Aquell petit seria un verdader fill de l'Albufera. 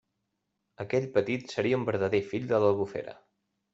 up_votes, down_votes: 2, 0